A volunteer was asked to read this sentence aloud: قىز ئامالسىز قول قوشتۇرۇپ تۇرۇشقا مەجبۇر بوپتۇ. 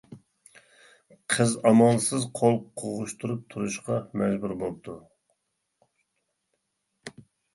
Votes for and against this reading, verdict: 1, 2, rejected